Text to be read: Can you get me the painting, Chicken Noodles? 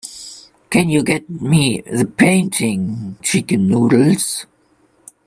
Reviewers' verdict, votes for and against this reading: accepted, 2, 0